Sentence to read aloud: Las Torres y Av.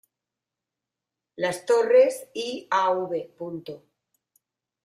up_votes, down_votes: 2, 0